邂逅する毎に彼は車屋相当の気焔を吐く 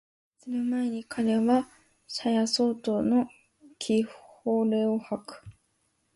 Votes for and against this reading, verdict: 0, 2, rejected